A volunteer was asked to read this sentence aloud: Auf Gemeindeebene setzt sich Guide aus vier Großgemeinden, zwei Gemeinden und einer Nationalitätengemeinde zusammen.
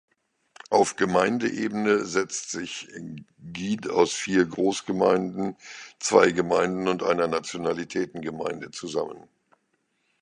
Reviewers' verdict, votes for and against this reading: rejected, 1, 2